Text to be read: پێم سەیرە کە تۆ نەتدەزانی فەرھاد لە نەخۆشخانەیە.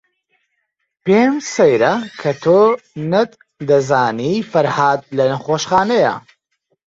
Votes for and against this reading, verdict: 1, 2, rejected